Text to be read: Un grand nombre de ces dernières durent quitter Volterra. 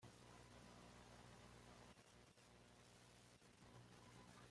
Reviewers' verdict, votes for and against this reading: rejected, 0, 2